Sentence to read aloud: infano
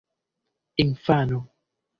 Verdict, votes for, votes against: accepted, 2, 0